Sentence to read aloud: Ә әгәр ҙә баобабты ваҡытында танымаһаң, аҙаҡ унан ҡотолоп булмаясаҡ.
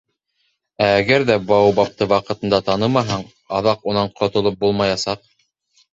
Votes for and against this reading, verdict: 1, 2, rejected